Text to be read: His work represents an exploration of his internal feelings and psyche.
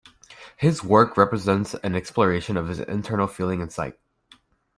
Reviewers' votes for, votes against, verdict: 0, 2, rejected